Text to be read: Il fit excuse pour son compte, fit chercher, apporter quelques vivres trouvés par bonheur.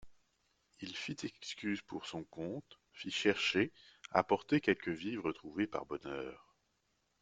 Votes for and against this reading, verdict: 0, 2, rejected